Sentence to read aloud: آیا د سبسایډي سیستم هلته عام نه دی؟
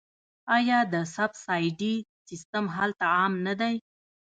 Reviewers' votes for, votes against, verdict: 0, 2, rejected